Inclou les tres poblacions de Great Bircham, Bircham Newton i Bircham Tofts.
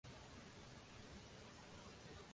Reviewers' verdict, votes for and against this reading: rejected, 0, 2